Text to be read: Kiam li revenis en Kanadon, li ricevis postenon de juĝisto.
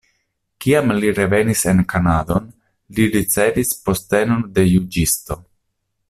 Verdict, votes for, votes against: accepted, 2, 0